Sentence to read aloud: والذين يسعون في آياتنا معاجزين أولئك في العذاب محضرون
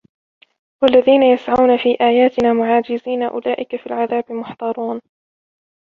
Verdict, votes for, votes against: rejected, 0, 2